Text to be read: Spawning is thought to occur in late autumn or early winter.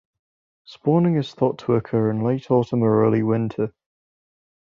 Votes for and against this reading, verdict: 2, 0, accepted